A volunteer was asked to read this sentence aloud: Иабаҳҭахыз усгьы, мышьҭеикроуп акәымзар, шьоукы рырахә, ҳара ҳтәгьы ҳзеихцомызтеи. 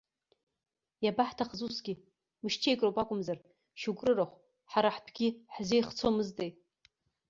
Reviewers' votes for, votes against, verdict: 1, 2, rejected